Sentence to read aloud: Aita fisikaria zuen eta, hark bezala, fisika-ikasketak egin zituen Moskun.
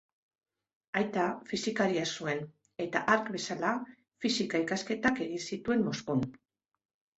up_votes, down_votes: 2, 0